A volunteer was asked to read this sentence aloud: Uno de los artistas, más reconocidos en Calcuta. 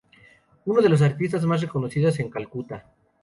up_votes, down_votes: 0, 2